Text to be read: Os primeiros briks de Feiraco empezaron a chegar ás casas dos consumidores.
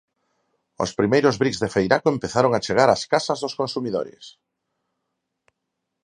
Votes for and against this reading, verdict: 4, 0, accepted